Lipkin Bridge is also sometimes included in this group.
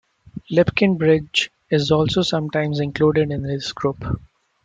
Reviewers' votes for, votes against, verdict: 2, 0, accepted